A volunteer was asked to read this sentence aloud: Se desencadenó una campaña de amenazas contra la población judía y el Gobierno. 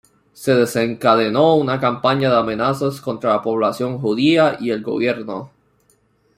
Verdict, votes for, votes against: accepted, 2, 0